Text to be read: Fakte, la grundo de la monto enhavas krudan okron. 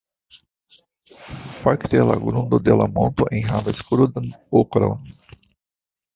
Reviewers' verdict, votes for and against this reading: accepted, 2, 1